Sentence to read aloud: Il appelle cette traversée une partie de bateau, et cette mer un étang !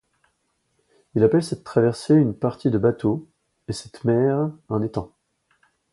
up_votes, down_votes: 2, 0